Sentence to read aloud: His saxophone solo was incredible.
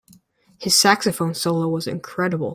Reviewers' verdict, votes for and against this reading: accepted, 2, 0